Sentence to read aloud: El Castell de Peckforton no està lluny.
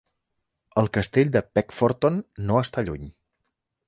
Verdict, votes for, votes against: accepted, 4, 0